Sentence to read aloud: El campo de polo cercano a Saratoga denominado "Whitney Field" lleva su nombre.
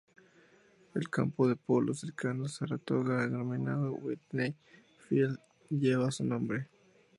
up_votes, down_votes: 0, 2